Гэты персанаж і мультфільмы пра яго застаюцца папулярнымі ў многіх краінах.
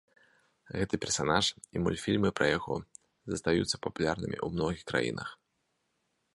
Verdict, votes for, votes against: accepted, 2, 0